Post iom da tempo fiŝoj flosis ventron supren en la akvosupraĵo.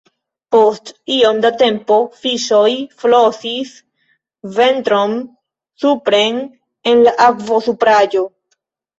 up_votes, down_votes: 2, 0